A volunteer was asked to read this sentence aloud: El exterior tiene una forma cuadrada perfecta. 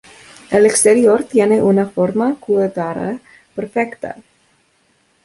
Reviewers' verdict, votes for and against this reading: rejected, 0, 2